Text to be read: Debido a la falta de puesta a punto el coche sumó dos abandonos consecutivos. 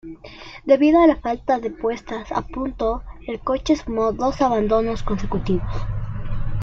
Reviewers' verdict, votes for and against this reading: accepted, 2, 0